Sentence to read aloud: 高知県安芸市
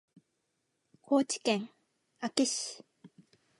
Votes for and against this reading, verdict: 2, 1, accepted